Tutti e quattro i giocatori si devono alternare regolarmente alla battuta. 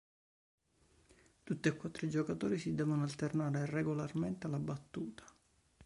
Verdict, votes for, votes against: rejected, 1, 2